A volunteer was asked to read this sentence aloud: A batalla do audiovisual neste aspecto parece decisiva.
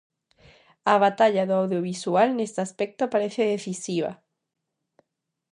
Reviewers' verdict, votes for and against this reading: accepted, 2, 0